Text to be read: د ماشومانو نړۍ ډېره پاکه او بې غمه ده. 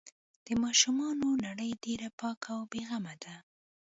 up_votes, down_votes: 2, 0